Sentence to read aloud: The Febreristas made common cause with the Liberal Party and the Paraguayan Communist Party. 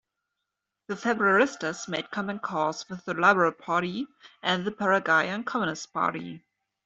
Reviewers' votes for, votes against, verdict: 1, 2, rejected